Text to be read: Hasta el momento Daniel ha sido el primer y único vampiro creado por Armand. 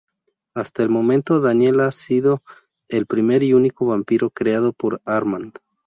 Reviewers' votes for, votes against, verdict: 2, 0, accepted